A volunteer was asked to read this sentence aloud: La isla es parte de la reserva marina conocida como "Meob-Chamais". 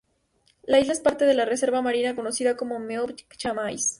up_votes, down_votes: 2, 0